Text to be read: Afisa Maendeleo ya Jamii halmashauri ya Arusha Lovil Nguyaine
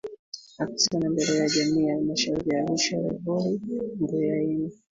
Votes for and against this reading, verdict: 0, 2, rejected